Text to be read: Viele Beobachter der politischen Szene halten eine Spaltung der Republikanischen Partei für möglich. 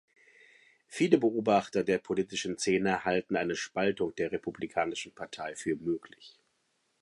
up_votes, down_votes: 2, 0